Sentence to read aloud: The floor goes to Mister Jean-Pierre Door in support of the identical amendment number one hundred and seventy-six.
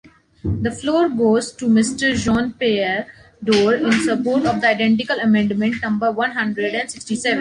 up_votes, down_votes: 1, 2